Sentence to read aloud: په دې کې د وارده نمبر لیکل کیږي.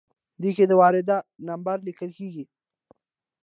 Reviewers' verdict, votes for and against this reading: accepted, 2, 0